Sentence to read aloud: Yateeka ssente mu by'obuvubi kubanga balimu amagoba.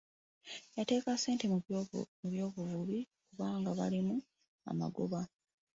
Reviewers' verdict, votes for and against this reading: accepted, 2, 0